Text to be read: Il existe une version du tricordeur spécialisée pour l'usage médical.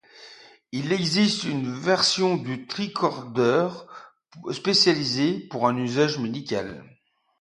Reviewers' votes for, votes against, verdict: 2, 1, accepted